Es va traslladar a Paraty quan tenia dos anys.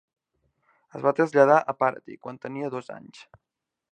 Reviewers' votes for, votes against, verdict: 0, 2, rejected